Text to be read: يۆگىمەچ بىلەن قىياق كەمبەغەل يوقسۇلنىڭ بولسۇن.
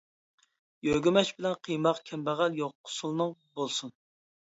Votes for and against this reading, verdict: 0, 2, rejected